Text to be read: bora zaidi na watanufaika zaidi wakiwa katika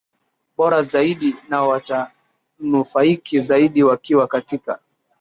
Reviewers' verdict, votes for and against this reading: rejected, 0, 2